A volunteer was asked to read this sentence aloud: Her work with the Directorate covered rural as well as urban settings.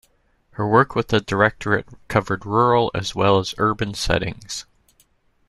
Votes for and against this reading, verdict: 2, 0, accepted